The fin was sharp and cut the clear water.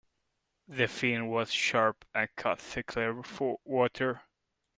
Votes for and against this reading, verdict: 0, 2, rejected